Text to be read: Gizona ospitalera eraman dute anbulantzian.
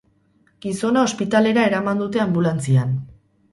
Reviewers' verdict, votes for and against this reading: rejected, 0, 2